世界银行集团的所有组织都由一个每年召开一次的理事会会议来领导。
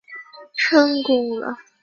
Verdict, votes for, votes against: rejected, 0, 2